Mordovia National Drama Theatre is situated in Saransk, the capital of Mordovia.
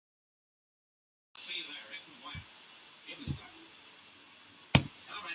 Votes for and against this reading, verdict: 0, 2, rejected